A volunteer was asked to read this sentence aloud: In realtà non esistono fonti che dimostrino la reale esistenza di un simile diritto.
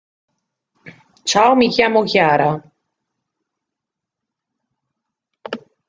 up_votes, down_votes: 0, 2